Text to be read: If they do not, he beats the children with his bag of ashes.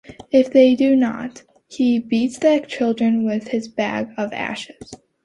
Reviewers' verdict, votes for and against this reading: accepted, 2, 1